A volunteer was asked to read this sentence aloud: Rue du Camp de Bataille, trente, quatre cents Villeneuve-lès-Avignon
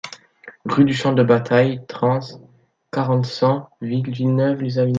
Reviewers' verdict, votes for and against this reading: rejected, 0, 2